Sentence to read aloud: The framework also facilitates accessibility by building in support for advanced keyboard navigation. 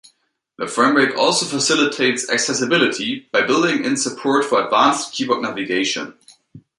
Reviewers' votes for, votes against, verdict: 2, 0, accepted